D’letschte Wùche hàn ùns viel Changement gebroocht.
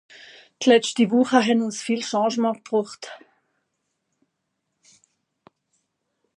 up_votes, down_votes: 2, 0